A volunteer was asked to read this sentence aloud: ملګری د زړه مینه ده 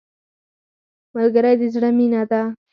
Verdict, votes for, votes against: rejected, 2, 4